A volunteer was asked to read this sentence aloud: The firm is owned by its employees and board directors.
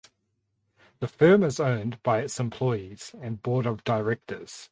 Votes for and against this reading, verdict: 2, 4, rejected